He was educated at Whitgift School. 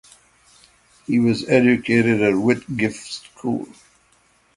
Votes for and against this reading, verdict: 6, 0, accepted